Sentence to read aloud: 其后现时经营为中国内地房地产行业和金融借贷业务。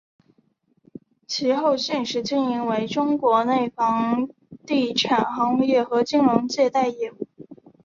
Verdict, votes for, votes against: accepted, 3, 0